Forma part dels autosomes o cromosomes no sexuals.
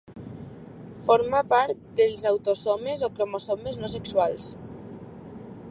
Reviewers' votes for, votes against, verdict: 2, 0, accepted